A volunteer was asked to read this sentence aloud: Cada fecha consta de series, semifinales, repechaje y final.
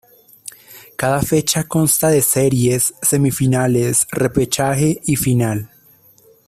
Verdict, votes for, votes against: accepted, 2, 0